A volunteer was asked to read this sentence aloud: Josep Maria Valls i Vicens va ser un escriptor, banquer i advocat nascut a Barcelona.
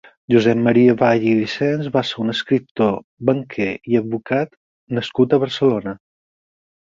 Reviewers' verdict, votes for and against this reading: rejected, 0, 6